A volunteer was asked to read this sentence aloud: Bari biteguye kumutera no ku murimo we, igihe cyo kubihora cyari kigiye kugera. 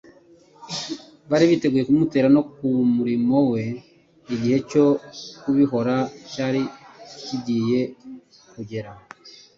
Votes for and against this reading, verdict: 2, 0, accepted